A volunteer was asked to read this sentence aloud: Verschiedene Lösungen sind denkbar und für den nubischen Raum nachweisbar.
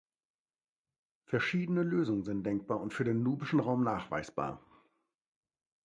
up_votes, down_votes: 2, 0